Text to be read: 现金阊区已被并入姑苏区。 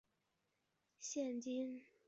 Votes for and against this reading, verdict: 1, 6, rejected